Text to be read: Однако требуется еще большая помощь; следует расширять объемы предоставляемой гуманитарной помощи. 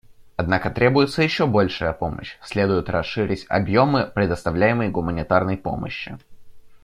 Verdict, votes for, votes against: rejected, 1, 2